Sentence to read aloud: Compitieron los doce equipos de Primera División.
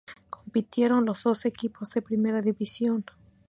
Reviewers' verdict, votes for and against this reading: rejected, 2, 4